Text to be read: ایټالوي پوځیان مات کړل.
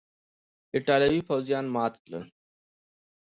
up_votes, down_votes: 2, 0